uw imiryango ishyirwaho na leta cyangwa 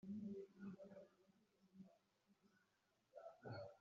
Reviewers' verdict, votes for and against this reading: rejected, 1, 2